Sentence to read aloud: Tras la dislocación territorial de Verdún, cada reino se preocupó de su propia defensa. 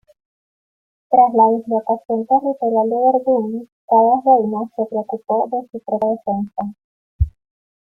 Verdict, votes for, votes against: accepted, 2, 1